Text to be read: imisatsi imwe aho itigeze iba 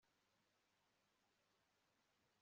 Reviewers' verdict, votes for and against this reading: rejected, 0, 2